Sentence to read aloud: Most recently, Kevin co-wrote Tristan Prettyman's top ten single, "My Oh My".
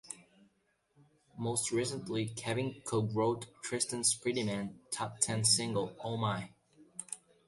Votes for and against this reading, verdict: 0, 2, rejected